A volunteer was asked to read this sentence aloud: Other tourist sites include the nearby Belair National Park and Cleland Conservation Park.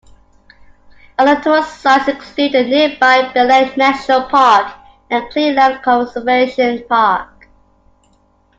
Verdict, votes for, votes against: accepted, 2, 1